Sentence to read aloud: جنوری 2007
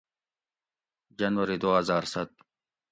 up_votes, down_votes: 0, 2